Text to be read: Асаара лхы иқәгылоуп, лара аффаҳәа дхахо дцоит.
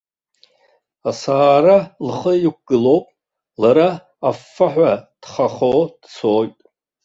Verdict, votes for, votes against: rejected, 0, 2